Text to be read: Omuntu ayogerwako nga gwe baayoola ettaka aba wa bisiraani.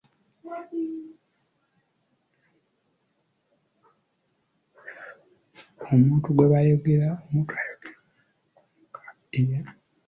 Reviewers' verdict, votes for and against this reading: rejected, 0, 2